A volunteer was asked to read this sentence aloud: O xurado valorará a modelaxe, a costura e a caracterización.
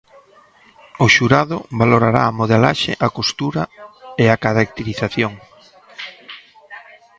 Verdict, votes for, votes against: rejected, 1, 2